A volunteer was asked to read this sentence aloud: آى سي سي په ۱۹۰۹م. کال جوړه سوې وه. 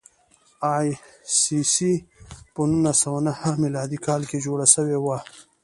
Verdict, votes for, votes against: rejected, 0, 2